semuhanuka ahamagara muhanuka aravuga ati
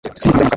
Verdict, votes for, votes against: rejected, 1, 2